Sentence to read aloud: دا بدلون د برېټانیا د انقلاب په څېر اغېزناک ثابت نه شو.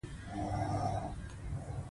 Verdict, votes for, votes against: accepted, 2, 1